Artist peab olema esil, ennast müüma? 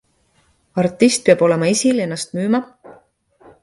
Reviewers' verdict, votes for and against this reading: accepted, 2, 0